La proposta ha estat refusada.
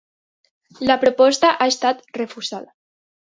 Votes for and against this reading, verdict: 2, 0, accepted